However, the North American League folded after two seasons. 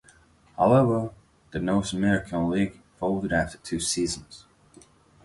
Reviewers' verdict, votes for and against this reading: accepted, 2, 0